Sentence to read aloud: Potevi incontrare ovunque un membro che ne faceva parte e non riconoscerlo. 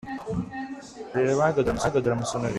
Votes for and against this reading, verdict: 0, 2, rejected